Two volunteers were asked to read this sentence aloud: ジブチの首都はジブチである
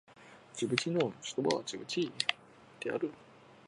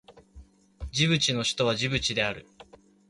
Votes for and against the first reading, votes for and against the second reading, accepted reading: 1, 2, 3, 0, second